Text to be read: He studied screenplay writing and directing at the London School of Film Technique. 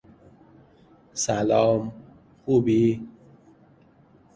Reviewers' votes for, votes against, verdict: 0, 2, rejected